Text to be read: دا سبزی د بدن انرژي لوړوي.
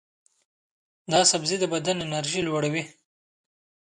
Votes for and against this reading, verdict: 2, 0, accepted